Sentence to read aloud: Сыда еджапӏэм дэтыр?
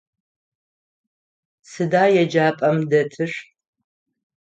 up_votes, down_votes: 9, 0